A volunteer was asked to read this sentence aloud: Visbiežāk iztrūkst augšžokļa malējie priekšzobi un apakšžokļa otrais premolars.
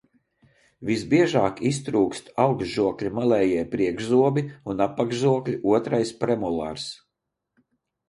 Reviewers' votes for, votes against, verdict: 2, 0, accepted